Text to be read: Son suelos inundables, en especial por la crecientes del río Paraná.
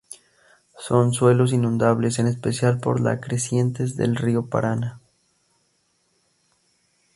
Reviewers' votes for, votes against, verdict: 2, 0, accepted